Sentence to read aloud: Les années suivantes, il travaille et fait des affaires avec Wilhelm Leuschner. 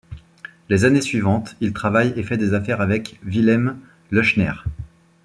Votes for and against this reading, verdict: 2, 0, accepted